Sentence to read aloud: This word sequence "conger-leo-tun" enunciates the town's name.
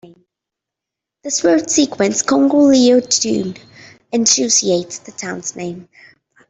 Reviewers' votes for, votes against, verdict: 0, 2, rejected